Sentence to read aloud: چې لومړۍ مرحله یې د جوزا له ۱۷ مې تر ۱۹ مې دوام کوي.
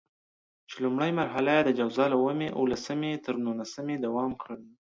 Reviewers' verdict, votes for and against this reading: rejected, 0, 2